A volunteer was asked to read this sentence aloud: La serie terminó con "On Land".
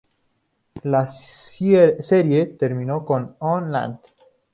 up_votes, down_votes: 2, 2